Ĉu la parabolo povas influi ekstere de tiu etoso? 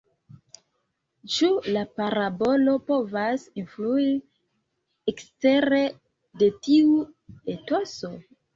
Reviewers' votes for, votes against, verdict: 2, 0, accepted